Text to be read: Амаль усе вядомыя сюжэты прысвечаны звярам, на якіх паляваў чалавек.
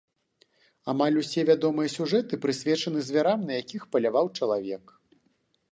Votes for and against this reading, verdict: 2, 0, accepted